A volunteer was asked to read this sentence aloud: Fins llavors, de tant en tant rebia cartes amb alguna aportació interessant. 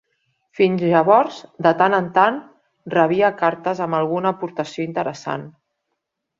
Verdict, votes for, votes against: accepted, 3, 0